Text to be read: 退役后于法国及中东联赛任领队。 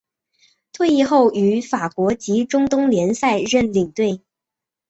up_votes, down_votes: 2, 0